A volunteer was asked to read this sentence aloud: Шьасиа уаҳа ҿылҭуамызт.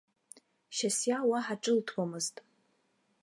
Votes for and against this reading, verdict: 2, 1, accepted